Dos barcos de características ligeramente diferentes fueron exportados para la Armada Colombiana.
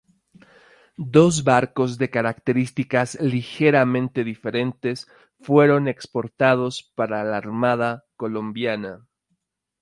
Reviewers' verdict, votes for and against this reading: accepted, 2, 0